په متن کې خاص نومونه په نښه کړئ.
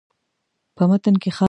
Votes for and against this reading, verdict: 0, 2, rejected